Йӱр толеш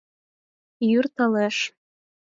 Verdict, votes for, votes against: accepted, 4, 0